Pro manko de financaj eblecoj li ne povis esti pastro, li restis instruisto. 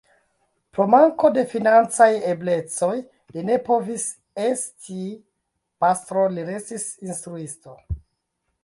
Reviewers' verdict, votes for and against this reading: rejected, 0, 2